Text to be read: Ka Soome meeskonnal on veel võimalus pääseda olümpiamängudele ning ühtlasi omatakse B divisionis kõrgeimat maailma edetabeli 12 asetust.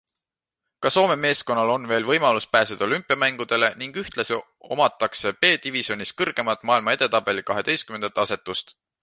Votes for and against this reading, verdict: 0, 2, rejected